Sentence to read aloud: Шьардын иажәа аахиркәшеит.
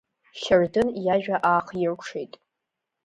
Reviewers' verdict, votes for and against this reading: rejected, 1, 2